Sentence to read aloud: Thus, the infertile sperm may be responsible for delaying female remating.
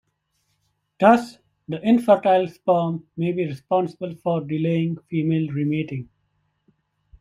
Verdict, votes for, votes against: rejected, 1, 2